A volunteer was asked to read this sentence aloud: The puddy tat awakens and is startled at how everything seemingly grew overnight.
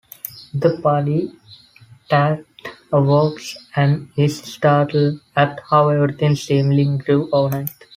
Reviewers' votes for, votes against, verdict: 1, 2, rejected